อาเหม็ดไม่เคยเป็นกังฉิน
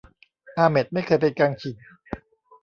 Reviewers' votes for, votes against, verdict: 1, 2, rejected